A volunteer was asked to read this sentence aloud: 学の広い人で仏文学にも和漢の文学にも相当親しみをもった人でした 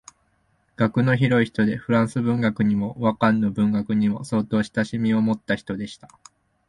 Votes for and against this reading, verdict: 2, 0, accepted